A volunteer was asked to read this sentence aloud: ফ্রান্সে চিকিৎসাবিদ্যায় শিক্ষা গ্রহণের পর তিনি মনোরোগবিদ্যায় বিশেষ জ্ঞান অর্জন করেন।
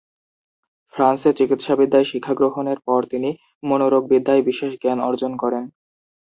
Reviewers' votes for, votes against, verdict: 2, 0, accepted